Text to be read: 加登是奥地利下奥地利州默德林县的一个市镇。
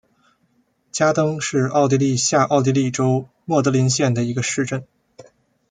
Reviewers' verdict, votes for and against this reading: rejected, 1, 2